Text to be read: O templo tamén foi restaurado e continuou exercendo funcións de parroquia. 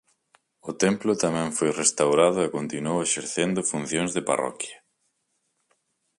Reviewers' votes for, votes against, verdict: 4, 0, accepted